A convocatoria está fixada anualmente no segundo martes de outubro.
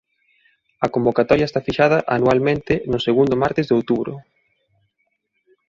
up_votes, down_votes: 2, 0